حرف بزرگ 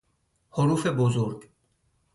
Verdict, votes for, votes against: rejected, 0, 2